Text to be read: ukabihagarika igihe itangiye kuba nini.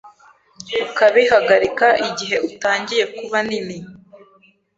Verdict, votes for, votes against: rejected, 1, 2